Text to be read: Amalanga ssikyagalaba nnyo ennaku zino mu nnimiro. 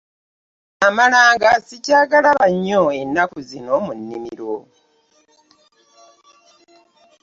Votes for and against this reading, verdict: 2, 0, accepted